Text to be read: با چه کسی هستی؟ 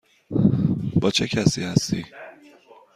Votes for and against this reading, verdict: 2, 0, accepted